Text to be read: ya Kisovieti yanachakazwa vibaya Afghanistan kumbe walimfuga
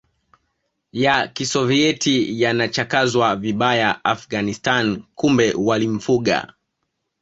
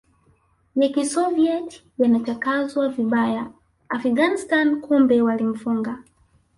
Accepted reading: first